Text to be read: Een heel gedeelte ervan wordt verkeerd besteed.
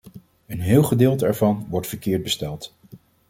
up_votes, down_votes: 1, 2